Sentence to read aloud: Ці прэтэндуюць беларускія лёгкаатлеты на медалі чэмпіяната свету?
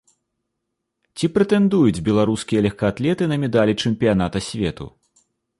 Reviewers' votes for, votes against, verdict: 0, 2, rejected